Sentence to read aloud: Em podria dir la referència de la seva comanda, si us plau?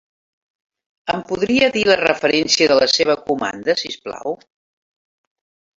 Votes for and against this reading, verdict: 3, 1, accepted